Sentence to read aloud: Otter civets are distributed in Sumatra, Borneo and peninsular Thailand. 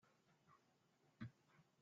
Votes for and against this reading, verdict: 0, 2, rejected